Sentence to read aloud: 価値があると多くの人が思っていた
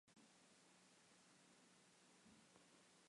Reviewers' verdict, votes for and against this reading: rejected, 0, 2